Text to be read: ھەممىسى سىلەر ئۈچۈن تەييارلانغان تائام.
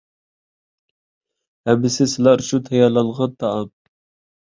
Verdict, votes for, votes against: rejected, 1, 2